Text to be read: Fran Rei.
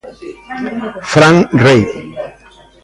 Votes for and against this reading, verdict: 1, 3, rejected